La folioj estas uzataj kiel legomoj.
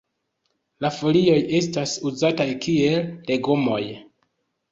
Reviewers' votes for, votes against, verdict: 2, 0, accepted